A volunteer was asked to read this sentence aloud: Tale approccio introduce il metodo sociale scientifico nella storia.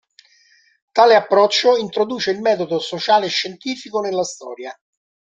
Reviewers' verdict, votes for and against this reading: accepted, 2, 0